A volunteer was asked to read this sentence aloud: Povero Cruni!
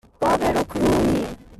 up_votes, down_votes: 2, 0